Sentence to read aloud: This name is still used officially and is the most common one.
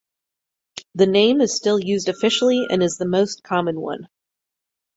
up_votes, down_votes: 0, 4